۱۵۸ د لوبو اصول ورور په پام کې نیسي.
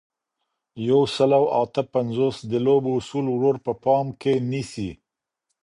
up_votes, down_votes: 0, 2